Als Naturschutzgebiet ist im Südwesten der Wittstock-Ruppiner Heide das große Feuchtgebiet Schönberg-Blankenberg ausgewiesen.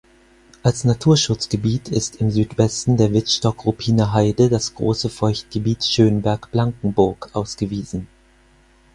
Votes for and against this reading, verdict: 2, 4, rejected